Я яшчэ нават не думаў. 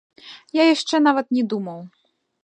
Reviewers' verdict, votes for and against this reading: rejected, 0, 2